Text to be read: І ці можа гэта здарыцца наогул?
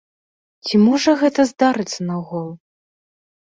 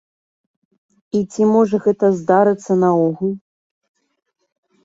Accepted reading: second